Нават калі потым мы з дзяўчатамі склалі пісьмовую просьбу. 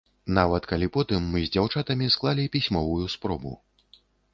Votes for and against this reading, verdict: 0, 2, rejected